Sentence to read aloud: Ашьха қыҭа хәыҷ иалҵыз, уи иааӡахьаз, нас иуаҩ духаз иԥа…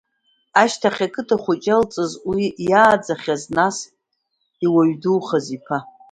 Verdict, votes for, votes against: accepted, 2, 0